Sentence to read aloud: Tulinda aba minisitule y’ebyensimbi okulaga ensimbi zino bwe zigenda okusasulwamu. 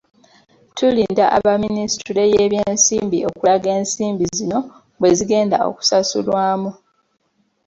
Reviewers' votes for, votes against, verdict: 0, 2, rejected